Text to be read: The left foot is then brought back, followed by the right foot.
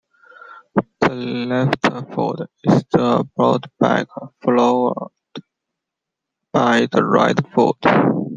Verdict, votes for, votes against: rejected, 0, 2